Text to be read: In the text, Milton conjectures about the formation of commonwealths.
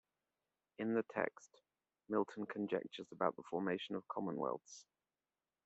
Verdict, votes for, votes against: accepted, 2, 0